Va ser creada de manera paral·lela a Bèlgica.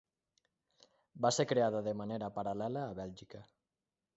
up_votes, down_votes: 3, 0